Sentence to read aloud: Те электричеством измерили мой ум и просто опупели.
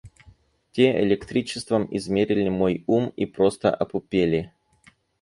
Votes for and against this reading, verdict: 2, 2, rejected